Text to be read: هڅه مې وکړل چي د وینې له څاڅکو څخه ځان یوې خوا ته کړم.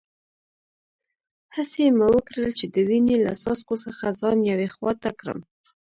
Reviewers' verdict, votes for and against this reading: rejected, 1, 2